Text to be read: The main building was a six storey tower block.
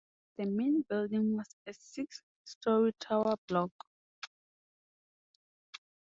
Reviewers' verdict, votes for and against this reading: accepted, 2, 0